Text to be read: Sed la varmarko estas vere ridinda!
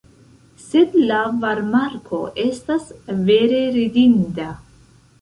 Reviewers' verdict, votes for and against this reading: rejected, 1, 2